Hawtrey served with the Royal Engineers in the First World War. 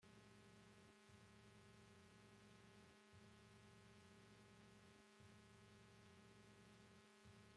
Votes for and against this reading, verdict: 0, 2, rejected